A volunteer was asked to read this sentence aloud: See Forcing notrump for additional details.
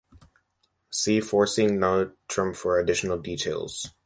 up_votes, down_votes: 2, 0